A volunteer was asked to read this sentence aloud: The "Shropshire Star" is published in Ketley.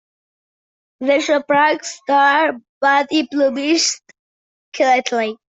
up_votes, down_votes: 0, 2